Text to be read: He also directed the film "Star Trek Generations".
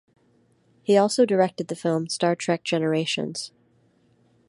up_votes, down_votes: 2, 0